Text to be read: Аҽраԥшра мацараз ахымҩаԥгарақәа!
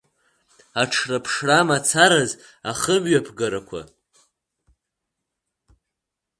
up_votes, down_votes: 0, 2